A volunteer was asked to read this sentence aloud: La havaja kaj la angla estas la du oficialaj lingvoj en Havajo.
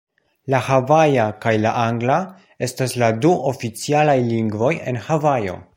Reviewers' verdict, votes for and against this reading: accepted, 2, 0